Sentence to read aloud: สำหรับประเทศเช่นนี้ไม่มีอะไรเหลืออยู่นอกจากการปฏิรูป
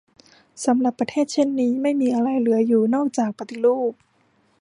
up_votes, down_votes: 0, 2